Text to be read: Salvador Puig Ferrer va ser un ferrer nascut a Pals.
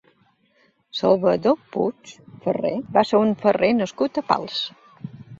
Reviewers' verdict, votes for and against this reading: accepted, 3, 0